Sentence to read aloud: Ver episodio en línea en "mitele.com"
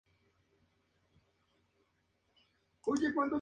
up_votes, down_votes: 0, 2